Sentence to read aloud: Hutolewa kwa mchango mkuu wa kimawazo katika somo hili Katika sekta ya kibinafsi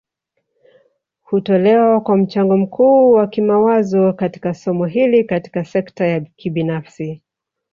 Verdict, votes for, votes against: rejected, 0, 2